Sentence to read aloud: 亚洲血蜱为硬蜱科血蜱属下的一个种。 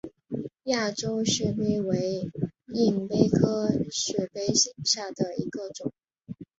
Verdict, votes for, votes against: accepted, 3, 2